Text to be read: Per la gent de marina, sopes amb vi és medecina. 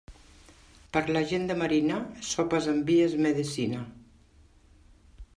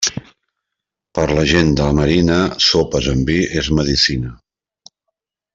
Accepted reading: first